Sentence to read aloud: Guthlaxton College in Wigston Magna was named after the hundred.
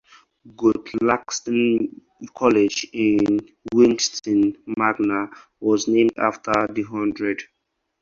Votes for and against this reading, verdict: 4, 0, accepted